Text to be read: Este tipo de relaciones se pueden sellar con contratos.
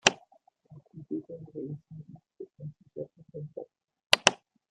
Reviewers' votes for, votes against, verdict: 1, 2, rejected